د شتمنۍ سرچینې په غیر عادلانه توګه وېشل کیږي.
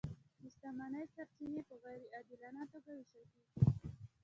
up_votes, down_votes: 1, 2